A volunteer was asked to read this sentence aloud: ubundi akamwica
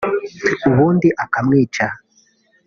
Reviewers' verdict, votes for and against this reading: accepted, 2, 0